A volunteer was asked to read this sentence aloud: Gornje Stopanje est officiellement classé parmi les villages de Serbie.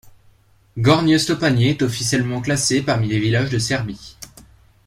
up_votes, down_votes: 2, 0